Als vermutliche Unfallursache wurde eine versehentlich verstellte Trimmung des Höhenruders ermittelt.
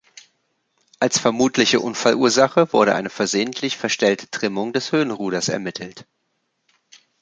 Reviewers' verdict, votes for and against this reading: accepted, 2, 0